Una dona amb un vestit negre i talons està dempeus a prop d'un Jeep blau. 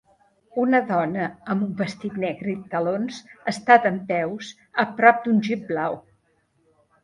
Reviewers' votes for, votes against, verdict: 2, 0, accepted